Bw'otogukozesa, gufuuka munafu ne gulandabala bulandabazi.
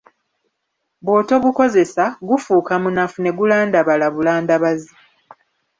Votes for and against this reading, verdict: 0, 2, rejected